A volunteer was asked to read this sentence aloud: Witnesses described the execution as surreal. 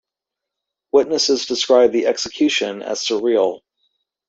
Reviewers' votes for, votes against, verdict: 2, 0, accepted